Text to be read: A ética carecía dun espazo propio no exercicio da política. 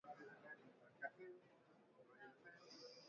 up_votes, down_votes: 0, 2